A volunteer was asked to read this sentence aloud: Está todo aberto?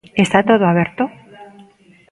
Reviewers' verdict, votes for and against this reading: accepted, 2, 0